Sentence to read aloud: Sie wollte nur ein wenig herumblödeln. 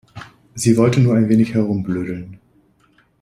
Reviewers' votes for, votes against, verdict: 2, 0, accepted